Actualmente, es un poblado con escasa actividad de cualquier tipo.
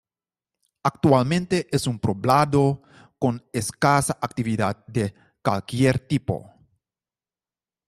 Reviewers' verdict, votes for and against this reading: rejected, 0, 2